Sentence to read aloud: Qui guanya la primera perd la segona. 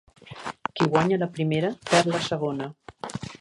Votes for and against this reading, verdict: 1, 2, rejected